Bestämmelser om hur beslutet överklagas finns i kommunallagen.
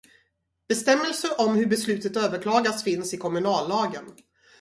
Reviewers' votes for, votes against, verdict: 2, 0, accepted